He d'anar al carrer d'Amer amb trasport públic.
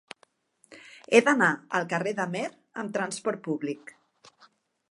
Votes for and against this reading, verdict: 2, 0, accepted